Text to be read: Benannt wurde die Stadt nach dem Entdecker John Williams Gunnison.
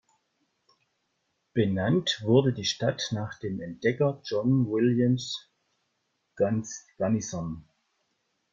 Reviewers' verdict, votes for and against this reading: rejected, 1, 2